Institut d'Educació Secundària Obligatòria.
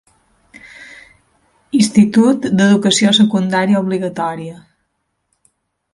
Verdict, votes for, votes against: accepted, 2, 0